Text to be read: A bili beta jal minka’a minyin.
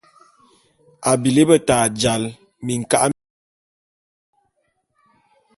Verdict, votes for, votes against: rejected, 0, 2